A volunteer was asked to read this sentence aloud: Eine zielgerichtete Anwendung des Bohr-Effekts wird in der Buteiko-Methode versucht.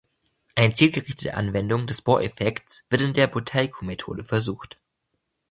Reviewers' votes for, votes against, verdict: 2, 0, accepted